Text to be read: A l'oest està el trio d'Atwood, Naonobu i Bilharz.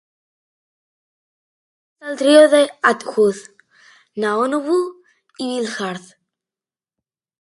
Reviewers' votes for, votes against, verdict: 0, 2, rejected